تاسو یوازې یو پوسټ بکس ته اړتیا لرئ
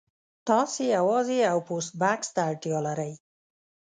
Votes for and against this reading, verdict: 1, 2, rejected